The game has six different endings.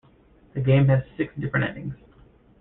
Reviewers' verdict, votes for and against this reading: rejected, 0, 2